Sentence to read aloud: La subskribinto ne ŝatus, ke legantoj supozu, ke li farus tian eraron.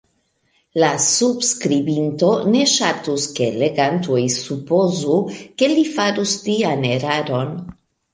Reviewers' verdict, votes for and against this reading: rejected, 0, 2